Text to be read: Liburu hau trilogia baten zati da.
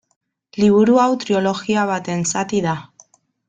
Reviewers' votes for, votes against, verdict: 1, 2, rejected